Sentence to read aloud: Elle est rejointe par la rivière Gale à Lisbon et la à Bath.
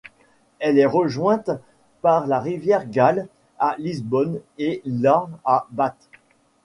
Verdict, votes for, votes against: accepted, 2, 0